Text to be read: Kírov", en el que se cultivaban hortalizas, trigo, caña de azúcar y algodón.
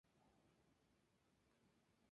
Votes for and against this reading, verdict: 0, 2, rejected